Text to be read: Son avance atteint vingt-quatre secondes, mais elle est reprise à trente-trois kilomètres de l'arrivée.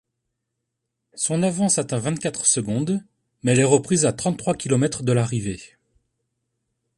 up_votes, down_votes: 2, 0